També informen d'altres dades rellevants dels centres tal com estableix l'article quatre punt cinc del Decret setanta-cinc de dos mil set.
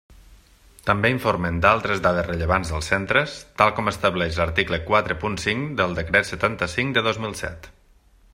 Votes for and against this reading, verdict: 3, 1, accepted